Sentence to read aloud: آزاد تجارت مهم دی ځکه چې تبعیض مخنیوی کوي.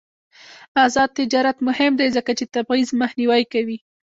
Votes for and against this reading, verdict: 1, 2, rejected